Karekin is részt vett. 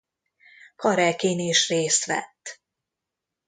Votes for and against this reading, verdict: 2, 0, accepted